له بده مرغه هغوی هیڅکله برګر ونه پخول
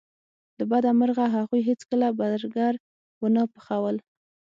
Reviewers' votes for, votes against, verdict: 3, 6, rejected